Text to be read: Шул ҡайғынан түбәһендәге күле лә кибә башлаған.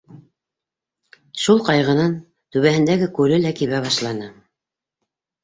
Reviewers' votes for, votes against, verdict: 0, 2, rejected